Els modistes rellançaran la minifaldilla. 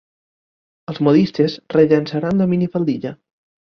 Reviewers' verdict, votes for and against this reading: accepted, 2, 0